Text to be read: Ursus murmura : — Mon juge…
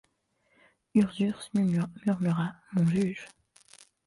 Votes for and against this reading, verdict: 1, 2, rejected